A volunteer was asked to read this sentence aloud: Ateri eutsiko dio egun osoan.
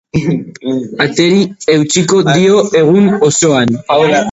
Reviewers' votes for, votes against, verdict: 0, 2, rejected